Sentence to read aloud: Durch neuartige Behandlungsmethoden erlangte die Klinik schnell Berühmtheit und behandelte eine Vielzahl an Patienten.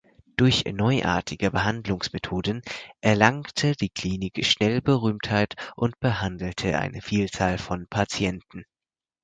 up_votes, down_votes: 2, 4